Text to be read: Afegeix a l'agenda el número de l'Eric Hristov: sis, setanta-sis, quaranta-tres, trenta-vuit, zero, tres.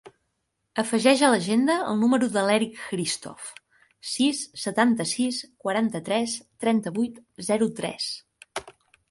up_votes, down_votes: 4, 0